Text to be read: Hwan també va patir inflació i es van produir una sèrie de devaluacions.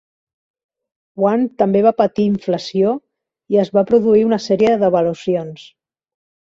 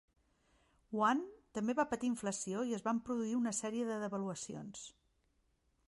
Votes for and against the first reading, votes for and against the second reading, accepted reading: 1, 2, 3, 0, second